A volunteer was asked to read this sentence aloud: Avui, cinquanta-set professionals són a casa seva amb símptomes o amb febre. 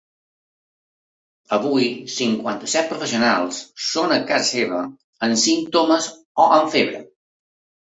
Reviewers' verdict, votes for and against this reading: accepted, 2, 0